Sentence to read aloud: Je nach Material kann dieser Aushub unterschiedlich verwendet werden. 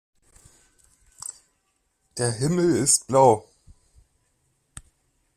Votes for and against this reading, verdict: 0, 2, rejected